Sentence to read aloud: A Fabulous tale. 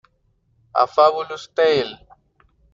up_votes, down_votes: 0, 2